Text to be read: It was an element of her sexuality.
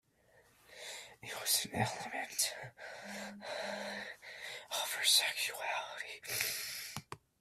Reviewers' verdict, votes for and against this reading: rejected, 0, 2